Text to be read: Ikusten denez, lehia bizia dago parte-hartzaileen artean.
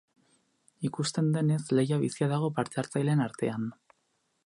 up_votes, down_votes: 2, 0